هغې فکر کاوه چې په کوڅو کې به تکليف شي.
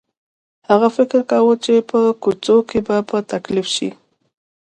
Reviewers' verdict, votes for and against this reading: accepted, 2, 0